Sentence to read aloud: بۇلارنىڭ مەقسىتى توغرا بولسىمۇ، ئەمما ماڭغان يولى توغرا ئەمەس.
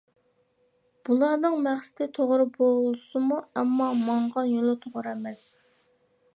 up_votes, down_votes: 2, 0